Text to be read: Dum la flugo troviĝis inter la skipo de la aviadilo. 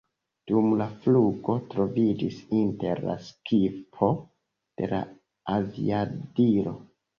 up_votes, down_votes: 2, 0